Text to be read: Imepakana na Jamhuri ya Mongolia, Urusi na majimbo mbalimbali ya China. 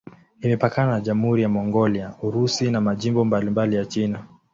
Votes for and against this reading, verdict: 2, 0, accepted